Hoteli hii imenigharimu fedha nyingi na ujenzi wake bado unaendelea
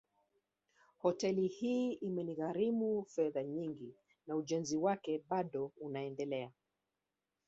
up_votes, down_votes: 0, 2